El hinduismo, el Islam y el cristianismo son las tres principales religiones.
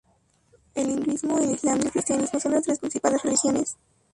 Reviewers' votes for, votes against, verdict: 0, 2, rejected